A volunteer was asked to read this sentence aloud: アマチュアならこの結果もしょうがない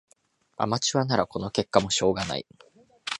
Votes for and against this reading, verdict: 1, 2, rejected